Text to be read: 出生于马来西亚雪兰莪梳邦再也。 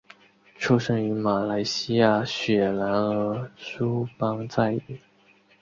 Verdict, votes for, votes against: rejected, 3, 4